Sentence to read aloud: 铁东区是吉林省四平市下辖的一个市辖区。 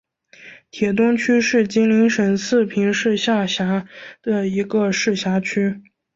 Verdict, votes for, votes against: accepted, 2, 0